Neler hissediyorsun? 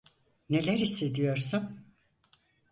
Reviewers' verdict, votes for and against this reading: accepted, 4, 0